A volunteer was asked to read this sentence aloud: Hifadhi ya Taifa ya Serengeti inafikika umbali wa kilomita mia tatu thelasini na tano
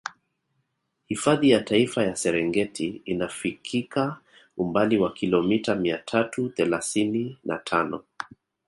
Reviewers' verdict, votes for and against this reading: accepted, 2, 0